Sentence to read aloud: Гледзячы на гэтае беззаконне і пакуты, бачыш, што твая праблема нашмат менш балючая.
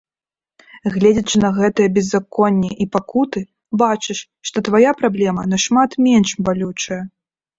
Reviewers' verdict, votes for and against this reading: accepted, 2, 0